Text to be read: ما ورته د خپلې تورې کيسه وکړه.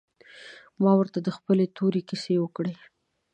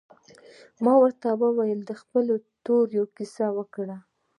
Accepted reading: first